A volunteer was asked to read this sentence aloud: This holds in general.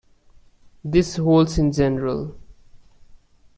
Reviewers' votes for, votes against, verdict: 2, 0, accepted